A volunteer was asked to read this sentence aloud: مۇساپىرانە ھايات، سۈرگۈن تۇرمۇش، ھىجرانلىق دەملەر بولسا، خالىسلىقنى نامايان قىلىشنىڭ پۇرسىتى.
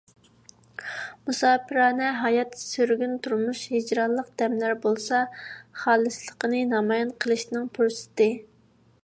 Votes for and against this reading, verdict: 2, 0, accepted